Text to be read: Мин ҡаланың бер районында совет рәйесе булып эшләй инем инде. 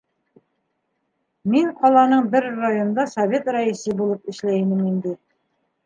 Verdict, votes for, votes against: accepted, 2, 0